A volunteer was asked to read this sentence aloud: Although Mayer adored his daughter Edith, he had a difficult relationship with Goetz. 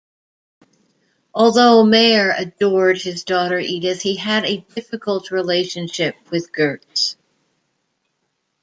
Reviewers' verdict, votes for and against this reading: accepted, 2, 0